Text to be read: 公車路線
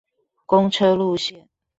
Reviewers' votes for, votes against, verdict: 1, 2, rejected